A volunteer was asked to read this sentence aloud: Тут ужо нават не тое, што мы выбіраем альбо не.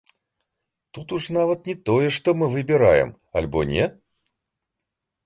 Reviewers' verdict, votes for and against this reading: rejected, 0, 2